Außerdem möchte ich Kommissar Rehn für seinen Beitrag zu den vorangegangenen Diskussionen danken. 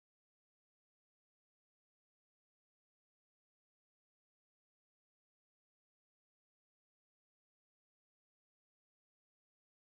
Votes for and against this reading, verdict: 0, 2, rejected